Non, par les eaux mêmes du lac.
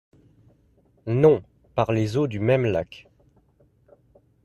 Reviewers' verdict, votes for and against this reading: rejected, 0, 2